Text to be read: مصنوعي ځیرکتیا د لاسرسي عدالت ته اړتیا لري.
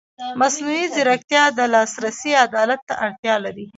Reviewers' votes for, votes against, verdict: 0, 2, rejected